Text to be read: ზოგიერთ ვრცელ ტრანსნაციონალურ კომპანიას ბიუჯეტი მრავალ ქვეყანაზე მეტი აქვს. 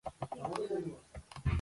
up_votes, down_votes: 0, 2